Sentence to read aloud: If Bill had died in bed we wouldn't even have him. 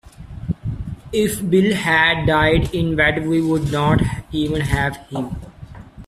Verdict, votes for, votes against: rejected, 0, 2